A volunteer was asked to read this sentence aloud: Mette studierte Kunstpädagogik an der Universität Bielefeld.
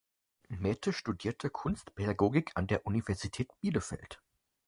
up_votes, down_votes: 4, 0